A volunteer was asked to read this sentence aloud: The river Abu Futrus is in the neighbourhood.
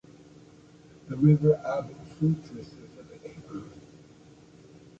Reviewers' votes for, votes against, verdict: 2, 1, accepted